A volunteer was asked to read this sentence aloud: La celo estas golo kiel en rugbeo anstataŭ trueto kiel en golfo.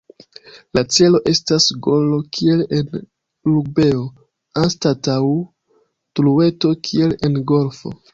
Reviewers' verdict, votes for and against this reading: rejected, 0, 2